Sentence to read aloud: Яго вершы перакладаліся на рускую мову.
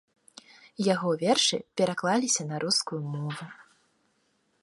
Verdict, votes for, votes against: rejected, 0, 2